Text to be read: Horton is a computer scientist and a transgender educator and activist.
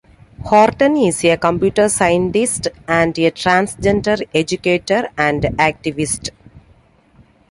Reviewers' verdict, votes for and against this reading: accepted, 2, 0